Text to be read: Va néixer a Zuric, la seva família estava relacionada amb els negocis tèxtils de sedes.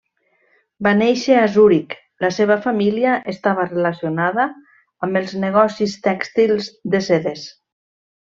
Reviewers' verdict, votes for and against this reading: rejected, 1, 2